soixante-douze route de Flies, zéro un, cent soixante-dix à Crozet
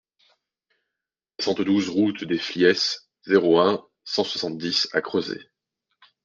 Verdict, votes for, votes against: accepted, 2, 0